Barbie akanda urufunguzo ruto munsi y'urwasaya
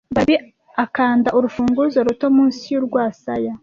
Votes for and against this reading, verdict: 2, 0, accepted